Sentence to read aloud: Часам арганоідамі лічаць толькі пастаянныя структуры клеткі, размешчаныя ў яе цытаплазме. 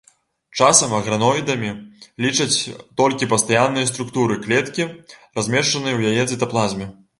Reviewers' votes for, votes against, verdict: 0, 2, rejected